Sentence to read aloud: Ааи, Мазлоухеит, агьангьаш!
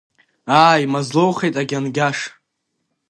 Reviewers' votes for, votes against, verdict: 2, 0, accepted